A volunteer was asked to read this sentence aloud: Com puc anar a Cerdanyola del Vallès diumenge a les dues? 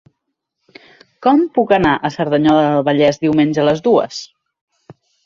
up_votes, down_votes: 4, 0